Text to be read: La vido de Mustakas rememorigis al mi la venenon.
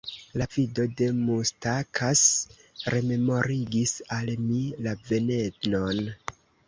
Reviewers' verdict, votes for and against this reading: rejected, 0, 2